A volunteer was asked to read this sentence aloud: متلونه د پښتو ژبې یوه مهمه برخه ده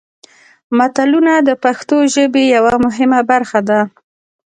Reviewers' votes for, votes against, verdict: 2, 0, accepted